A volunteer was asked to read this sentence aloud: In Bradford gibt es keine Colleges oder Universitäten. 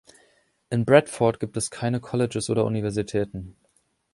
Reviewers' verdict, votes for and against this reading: accepted, 2, 0